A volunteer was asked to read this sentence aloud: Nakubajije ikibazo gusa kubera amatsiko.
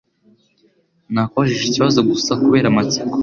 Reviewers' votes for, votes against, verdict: 2, 0, accepted